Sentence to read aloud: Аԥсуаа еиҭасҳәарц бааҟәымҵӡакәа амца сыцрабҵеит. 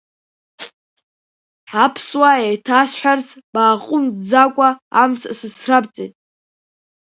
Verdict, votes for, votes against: rejected, 0, 2